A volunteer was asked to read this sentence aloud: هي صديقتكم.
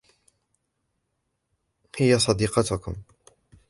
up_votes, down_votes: 1, 2